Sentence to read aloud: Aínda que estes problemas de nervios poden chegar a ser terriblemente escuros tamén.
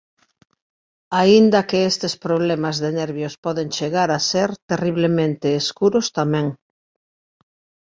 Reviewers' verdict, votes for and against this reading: accepted, 2, 0